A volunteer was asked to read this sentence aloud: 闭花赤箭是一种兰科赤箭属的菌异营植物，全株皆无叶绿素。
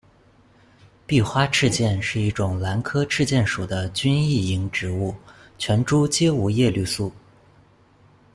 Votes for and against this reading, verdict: 2, 0, accepted